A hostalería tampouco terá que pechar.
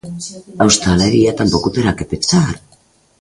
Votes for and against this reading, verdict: 2, 0, accepted